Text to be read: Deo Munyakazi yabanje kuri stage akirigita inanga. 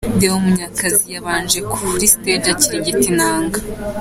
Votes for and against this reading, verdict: 3, 0, accepted